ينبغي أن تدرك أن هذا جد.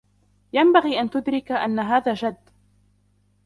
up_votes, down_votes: 1, 2